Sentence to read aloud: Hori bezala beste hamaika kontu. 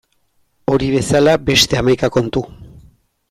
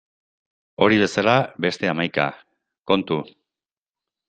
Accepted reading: first